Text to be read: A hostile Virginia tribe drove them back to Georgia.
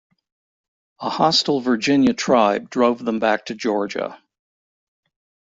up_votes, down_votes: 2, 0